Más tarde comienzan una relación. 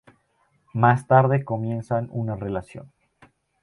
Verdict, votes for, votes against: rejected, 2, 2